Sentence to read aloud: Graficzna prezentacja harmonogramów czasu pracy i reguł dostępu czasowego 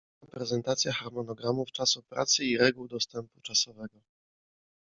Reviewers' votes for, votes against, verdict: 1, 2, rejected